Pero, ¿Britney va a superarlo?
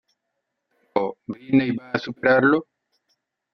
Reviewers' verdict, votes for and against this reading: rejected, 0, 2